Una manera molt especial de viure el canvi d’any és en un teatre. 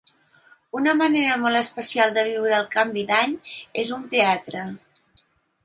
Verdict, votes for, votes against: rejected, 0, 2